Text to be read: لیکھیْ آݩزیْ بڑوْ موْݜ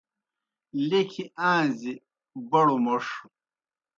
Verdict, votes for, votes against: accepted, 2, 0